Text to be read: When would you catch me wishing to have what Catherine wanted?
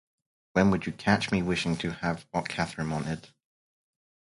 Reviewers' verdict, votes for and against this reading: rejected, 2, 2